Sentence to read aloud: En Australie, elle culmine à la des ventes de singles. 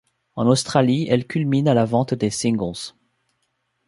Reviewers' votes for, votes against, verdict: 1, 2, rejected